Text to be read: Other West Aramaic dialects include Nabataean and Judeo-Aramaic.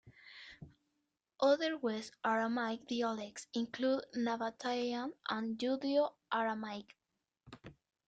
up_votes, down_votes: 1, 2